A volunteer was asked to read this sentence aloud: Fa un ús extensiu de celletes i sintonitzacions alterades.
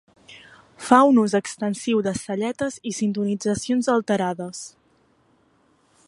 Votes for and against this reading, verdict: 3, 0, accepted